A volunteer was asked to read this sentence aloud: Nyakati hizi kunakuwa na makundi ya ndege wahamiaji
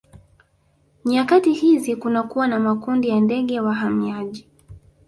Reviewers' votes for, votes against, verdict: 2, 0, accepted